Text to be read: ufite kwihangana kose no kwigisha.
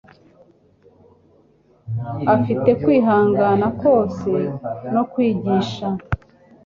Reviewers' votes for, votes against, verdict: 2, 3, rejected